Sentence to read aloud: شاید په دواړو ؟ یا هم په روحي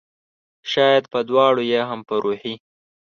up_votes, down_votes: 3, 0